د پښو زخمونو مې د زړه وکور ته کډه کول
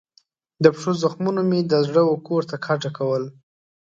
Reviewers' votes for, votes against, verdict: 7, 0, accepted